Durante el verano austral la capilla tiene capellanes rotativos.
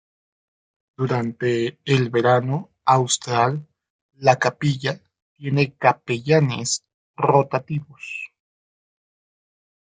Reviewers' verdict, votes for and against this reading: accepted, 2, 0